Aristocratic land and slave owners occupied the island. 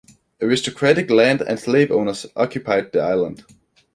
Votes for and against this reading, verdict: 2, 0, accepted